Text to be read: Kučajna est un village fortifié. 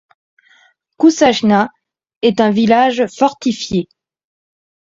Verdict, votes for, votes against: accepted, 2, 0